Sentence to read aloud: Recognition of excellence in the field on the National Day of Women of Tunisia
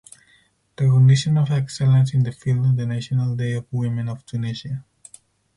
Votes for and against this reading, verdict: 0, 2, rejected